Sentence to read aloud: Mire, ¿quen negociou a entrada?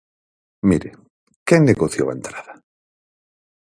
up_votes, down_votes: 6, 0